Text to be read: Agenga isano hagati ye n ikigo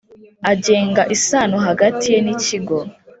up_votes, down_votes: 3, 0